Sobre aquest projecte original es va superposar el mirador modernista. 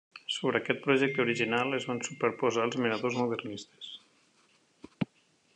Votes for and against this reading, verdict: 0, 2, rejected